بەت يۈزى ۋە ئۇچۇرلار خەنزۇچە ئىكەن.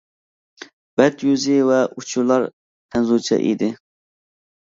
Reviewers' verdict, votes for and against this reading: rejected, 0, 2